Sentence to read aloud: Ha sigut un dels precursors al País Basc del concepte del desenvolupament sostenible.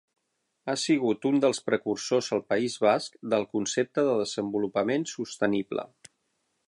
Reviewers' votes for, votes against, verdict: 0, 12, rejected